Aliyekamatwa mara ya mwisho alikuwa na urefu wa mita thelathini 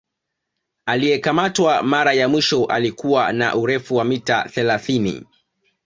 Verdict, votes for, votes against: accepted, 2, 0